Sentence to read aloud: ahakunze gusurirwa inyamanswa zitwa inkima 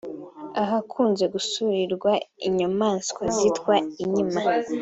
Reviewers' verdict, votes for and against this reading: accepted, 2, 1